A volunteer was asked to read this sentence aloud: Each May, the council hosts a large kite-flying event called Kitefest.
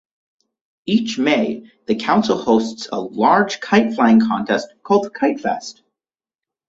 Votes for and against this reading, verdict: 0, 4, rejected